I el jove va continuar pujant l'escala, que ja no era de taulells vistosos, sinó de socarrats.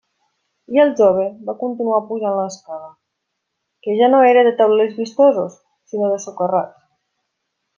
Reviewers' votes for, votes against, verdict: 2, 0, accepted